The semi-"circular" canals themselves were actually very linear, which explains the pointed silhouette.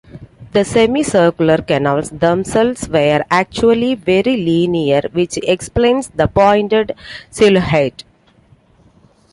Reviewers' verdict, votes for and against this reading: accepted, 2, 1